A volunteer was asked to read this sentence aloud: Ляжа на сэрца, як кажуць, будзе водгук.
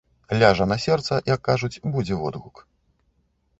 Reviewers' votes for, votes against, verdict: 0, 2, rejected